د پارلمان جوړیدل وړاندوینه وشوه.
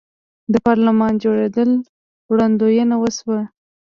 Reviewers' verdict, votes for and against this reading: rejected, 1, 2